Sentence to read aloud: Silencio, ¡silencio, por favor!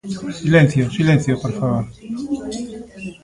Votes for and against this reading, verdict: 2, 0, accepted